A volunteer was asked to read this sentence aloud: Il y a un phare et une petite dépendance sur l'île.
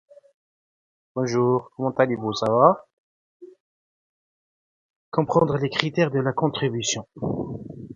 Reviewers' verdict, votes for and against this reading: rejected, 0, 2